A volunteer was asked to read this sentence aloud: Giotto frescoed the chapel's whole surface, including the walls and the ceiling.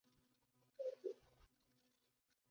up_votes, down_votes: 0, 2